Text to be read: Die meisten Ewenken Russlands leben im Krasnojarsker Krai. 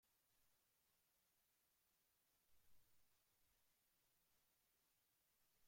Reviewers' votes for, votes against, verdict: 0, 2, rejected